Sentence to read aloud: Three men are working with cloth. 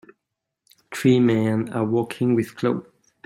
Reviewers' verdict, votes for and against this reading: rejected, 1, 2